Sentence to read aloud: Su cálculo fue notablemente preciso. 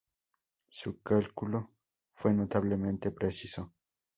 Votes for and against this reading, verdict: 2, 0, accepted